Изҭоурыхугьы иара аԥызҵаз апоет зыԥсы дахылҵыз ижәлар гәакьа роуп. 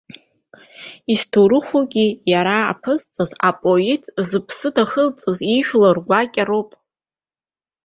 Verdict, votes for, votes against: accepted, 2, 0